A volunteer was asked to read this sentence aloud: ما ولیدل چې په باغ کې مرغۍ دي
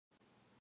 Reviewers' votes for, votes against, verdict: 1, 2, rejected